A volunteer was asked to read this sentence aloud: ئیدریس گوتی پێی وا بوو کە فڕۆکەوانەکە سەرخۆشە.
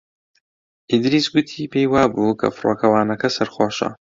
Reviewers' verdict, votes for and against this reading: accepted, 2, 0